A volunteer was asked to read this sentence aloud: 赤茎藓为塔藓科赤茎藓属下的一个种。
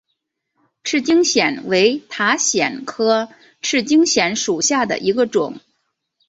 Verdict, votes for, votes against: accepted, 2, 0